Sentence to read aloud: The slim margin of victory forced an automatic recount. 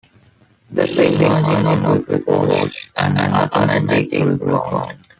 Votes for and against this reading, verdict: 0, 2, rejected